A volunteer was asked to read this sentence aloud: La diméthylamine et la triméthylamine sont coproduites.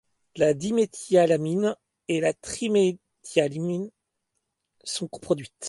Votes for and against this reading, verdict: 1, 2, rejected